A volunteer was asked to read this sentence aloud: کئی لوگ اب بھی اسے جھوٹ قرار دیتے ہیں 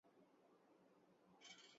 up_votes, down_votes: 0, 3